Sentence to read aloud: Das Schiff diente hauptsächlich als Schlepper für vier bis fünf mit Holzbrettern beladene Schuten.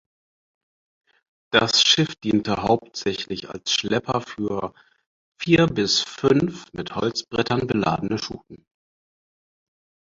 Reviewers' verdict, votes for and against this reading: accepted, 4, 0